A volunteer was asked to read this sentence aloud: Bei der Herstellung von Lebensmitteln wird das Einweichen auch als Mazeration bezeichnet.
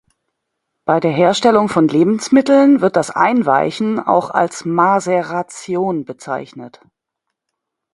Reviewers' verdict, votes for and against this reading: rejected, 0, 2